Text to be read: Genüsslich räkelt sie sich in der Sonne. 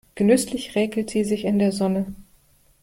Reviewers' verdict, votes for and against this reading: accepted, 2, 0